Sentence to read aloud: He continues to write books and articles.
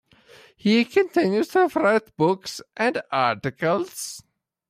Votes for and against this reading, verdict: 0, 2, rejected